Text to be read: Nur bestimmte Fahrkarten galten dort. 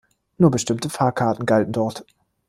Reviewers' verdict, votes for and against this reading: accepted, 2, 0